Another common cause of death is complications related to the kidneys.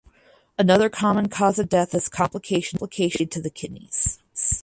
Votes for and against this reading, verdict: 0, 4, rejected